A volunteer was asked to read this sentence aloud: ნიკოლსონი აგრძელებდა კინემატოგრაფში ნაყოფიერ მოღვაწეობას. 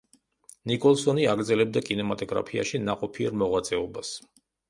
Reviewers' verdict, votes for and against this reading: rejected, 0, 2